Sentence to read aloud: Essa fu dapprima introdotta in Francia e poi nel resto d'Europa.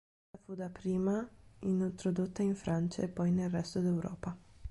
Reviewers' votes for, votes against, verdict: 0, 3, rejected